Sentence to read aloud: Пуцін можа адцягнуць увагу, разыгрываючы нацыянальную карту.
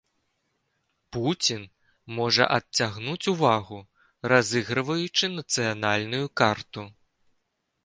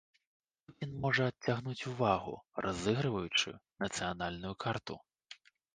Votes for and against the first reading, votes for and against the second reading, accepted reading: 2, 0, 0, 2, first